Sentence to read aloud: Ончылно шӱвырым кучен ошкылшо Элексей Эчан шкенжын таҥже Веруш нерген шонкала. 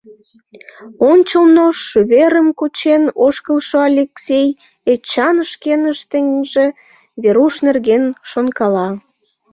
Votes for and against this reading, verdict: 0, 2, rejected